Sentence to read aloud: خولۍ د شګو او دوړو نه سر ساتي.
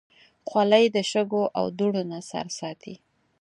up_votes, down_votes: 4, 0